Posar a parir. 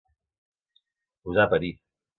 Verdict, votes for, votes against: accepted, 2, 0